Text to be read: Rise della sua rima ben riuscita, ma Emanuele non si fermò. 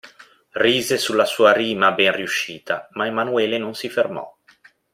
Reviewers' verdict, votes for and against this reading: rejected, 0, 2